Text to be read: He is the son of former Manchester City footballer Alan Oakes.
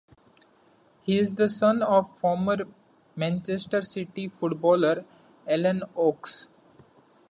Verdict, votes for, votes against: accepted, 2, 0